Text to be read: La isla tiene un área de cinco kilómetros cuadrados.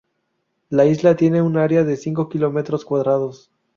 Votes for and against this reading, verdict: 4, 0, accepted